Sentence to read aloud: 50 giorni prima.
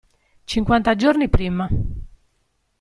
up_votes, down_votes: 0, 2